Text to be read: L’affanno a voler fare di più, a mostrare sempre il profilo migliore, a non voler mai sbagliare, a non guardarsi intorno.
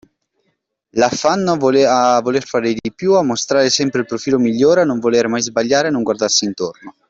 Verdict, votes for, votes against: accepted, 2, 1